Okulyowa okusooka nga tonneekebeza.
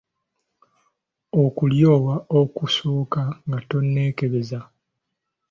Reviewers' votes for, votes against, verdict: 2, 0, accepted